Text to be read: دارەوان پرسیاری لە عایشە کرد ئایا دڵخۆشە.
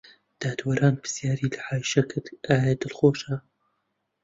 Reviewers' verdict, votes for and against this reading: rejected, 0, 2